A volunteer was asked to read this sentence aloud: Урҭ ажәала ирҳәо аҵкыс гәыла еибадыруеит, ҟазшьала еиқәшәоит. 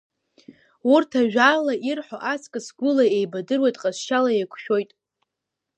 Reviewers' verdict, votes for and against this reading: accepted, 2, 1